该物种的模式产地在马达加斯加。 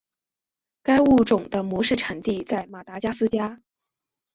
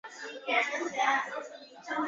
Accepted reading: first